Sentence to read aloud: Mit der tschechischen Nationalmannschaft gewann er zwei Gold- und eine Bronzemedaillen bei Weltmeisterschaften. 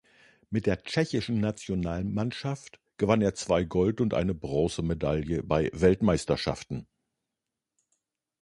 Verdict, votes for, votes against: rejected, 0, 2